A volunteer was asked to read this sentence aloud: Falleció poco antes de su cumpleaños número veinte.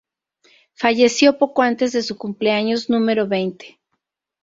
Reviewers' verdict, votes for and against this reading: rejected, 0, 2